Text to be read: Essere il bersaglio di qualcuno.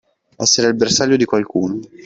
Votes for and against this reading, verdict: 2, 0, accepted